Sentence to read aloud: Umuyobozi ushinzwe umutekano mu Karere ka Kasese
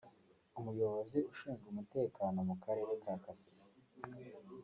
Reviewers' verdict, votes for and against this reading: rejected, 0, 2